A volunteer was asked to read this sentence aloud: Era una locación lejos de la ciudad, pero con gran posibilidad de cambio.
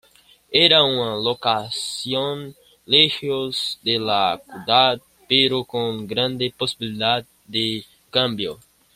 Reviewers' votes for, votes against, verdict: 0, 2, rejected